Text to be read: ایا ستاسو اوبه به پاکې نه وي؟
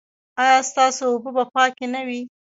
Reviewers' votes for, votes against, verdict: 0, 2, rejected